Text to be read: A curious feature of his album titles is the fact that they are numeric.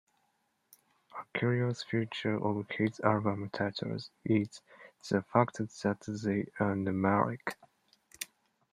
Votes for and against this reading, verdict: 0, 2, rejected